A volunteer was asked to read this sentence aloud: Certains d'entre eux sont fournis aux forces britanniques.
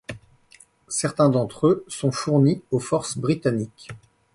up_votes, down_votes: 2, 0